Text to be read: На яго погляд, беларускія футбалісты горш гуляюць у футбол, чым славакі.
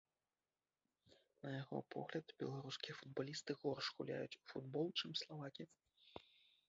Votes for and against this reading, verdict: 1, 2, rejected